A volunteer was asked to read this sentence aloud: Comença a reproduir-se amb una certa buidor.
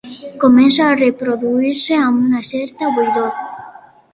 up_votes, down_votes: 3, 1